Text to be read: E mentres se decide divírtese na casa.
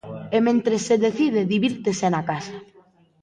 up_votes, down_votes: 2, 0